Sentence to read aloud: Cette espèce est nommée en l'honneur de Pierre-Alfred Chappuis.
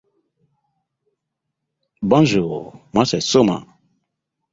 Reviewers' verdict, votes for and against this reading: rejected, 0, 2